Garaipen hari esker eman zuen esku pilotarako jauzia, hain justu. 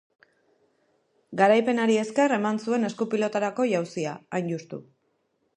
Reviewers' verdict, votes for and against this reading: accepted, 2, 0